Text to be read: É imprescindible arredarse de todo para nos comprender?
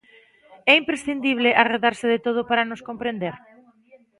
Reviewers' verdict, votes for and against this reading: accepted, 2, 1